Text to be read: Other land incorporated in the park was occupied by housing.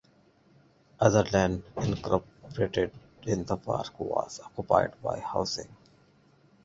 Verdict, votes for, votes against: accepted, 2, 0